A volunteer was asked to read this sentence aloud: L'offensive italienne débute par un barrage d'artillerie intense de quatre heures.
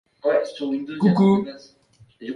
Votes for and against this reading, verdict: 0, 2, rejected